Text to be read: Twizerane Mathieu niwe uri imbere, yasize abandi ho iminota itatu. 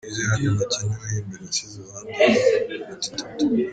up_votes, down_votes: 1, 2